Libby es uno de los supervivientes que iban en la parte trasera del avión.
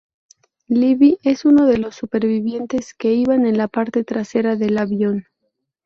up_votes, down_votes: 4, 0